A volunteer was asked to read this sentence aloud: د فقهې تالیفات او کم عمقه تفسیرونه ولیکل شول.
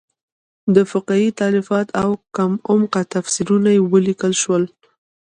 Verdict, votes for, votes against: accepted, 2, 1